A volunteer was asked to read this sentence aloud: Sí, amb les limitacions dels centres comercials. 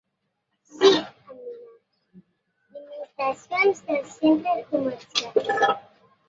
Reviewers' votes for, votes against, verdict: 0, 3, rejected